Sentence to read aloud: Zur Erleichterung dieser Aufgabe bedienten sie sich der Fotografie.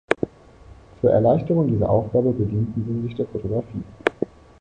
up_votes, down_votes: 0, 2